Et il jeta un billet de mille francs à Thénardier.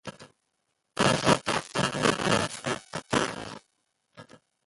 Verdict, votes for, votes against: rejected, 0, 2